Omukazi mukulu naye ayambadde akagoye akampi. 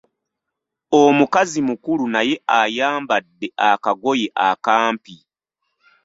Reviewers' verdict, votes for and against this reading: accepted, 2, 1